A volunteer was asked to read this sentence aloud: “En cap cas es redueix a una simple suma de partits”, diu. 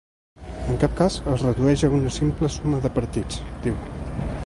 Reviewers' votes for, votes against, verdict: 3, 0, accepted